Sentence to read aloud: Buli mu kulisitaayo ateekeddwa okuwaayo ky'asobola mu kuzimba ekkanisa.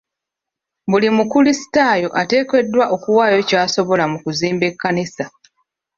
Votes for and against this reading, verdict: 0, 2, rejected